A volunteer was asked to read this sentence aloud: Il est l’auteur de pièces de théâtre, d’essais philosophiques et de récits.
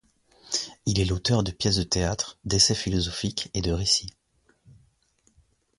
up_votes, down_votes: 2, 0